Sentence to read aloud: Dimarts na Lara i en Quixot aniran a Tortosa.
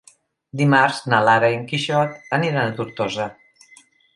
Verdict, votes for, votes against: accepted, 3, 0